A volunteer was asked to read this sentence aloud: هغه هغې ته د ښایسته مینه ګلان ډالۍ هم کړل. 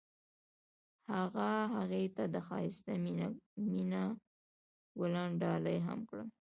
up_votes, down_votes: 2, 0